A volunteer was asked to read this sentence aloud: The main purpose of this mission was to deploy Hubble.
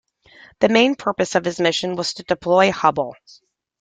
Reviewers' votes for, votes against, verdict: 2, 0, accepted